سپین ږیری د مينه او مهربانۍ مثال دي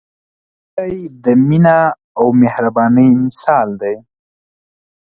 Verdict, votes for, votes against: rejected, 1, 2